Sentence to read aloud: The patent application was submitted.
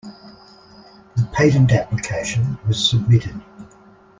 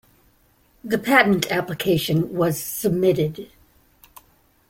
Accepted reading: second